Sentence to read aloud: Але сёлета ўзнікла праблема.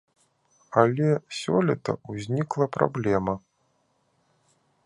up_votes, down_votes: 2, 0